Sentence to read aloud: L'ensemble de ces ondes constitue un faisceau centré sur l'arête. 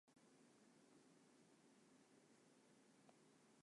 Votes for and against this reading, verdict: 0, 2, rejected